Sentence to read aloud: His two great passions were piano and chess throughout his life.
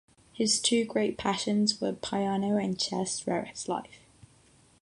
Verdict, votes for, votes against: rejected, 3, 3